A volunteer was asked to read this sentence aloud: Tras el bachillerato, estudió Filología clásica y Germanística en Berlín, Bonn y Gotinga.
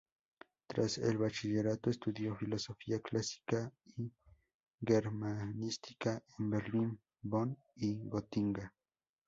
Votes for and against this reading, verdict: 0, 2, rejected